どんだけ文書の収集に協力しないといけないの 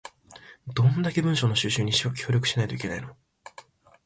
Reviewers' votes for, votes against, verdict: 2, 1, accepted